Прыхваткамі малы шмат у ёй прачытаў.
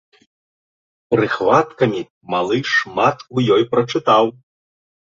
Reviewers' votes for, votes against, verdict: 2, 0, accepted